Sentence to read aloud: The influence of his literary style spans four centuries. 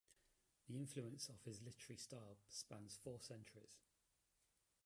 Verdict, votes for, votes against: rejected, 1, 2